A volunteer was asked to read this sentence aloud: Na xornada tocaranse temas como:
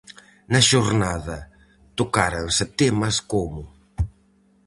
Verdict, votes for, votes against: rejected, 0, 4